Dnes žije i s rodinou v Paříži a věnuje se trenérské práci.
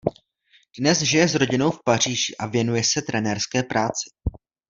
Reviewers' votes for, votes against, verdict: 1, 2, rejected